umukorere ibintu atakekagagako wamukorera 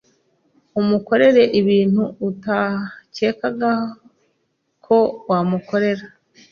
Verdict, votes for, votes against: rejected, 0, 3